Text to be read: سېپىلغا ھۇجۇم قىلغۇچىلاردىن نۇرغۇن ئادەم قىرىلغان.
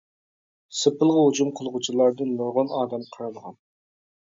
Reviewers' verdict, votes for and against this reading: rejected, 1, 2